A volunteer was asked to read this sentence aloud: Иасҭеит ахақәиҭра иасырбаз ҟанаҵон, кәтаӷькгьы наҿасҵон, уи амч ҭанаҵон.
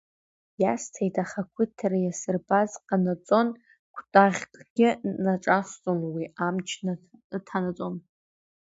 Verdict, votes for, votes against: rejected, 0, 2